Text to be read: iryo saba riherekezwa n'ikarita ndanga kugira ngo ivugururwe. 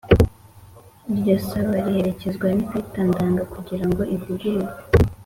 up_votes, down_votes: 3, 0